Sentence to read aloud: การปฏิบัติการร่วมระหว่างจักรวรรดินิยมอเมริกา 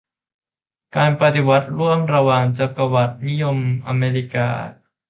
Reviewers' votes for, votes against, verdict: 0, 2, rejected